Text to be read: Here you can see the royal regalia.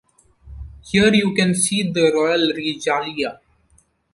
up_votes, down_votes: 1, 2